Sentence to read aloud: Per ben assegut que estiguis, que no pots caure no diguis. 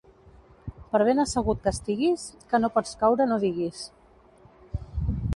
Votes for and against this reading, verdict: 2, 0, accepted